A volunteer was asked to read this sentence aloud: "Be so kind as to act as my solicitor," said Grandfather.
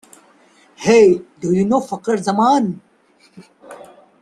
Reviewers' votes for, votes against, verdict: 0, 2, rejected